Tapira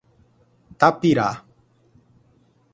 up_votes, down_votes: 0, 4